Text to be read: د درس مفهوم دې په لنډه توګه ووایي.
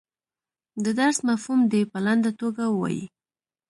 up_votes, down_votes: 2, 0